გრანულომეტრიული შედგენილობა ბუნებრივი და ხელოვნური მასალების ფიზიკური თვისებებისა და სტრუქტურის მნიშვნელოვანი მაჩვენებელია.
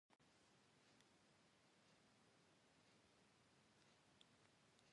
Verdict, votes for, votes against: rejected, 0, 2